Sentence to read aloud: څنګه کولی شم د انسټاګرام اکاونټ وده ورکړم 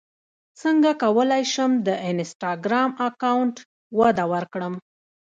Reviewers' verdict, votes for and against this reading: rejected, 1, 2